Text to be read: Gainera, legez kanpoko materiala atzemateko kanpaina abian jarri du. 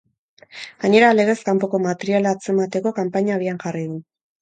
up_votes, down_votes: 6, 2